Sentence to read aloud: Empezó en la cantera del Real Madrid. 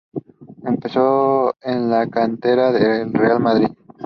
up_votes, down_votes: 4, 0